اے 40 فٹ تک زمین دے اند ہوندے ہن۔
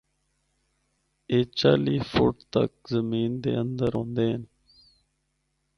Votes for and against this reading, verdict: 0, 2, rejected